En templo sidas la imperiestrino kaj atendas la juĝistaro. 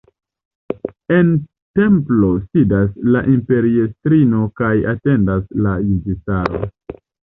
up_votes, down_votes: 2, 0